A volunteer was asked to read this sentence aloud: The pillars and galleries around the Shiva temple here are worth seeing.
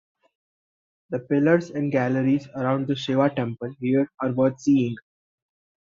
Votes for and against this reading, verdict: 2, 0, accepted